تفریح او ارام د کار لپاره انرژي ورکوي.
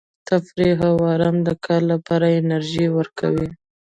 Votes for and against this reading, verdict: 2, 0, accepted